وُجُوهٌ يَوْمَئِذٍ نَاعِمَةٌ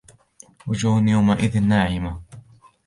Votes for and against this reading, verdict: 2, 0, accepted